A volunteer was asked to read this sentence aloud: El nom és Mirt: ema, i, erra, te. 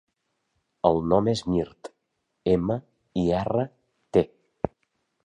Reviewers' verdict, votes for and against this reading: rejected, 1, 2